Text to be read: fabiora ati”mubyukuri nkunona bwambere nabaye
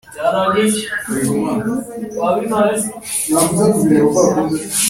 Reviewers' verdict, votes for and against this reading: rejected, 0, 2